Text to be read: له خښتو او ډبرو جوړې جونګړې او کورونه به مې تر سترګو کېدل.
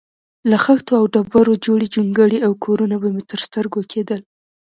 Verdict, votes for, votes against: accepted, 2, 1